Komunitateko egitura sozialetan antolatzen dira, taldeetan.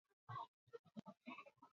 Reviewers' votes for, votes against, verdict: 0, 4, rejected